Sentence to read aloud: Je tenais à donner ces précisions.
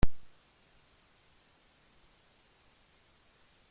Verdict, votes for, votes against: rejected, 0, 2